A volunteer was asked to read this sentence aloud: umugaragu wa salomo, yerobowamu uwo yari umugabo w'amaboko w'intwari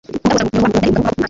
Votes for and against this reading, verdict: 0, 2, rejected